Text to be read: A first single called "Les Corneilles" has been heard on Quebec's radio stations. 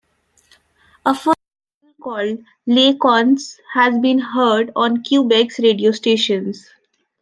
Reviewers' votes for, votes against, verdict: 0, 2, rejected